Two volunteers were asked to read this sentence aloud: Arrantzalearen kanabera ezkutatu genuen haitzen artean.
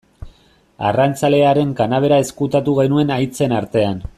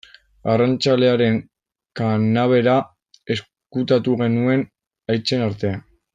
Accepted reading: first